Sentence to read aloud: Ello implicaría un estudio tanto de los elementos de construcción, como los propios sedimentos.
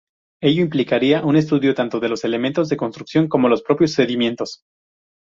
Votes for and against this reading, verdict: 0, 2, rejected